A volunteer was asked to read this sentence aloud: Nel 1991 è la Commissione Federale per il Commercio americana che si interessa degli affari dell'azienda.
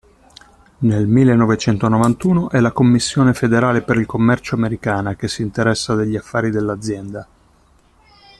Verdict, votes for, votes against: rejected, 0, 2